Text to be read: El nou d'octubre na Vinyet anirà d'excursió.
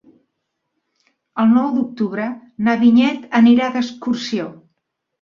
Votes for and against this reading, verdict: 3, 0, accepted